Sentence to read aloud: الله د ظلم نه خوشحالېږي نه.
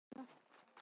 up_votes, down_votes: 0, 2